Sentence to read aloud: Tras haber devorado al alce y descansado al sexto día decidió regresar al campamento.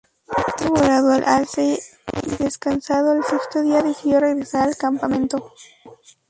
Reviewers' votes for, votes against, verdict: 0, 2, rejected